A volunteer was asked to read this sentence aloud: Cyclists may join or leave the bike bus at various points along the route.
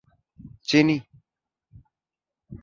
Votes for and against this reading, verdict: 0, 2, rejected